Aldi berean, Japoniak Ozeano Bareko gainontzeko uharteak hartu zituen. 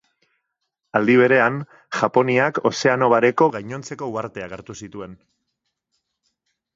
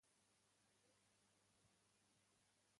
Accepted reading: first